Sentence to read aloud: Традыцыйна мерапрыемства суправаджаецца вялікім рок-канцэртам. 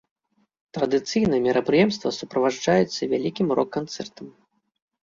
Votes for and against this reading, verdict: 1, 2, rejected